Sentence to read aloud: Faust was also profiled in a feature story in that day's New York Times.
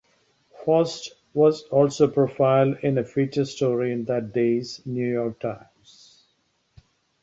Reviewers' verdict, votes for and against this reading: accepted, 2, 0